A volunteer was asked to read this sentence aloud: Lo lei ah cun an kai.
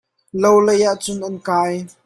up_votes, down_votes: 2, 0